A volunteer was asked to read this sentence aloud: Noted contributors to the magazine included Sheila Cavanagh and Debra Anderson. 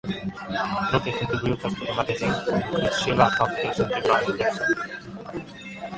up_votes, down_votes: 0, 2